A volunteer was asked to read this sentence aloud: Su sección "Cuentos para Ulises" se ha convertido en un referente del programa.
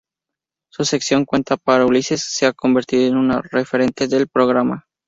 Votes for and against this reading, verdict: 0, 2, rejected